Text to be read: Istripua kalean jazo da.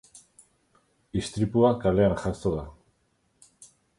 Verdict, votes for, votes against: accepted, 4, 0